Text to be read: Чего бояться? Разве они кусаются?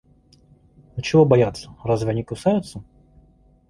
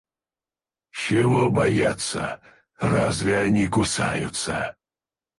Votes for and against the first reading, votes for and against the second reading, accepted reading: 2, 0, 0, 4, first